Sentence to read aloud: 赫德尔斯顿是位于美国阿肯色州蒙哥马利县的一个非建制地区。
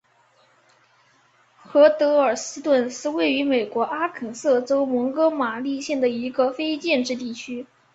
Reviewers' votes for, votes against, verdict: 1, 2, rejected